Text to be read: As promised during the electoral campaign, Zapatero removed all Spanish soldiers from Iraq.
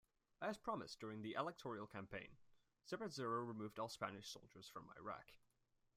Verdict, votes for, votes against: rejected, 1, 2